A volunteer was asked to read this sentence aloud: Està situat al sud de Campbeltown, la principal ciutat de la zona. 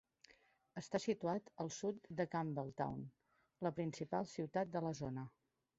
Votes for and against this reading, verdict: 2, 0, accepted